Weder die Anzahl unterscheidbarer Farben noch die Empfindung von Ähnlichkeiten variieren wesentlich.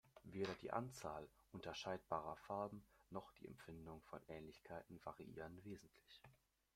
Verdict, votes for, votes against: rejected, 0, 2